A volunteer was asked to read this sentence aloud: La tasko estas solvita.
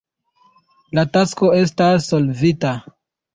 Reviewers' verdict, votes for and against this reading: rejected, 0, 2